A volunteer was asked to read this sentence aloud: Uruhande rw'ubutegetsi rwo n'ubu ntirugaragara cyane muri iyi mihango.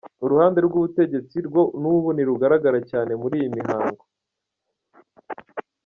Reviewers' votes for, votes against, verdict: 2, 0, accepted